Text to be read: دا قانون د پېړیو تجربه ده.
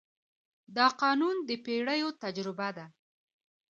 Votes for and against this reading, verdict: 2, 0, accepted